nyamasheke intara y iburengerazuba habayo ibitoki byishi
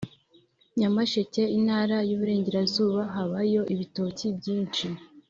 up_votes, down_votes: 2, 1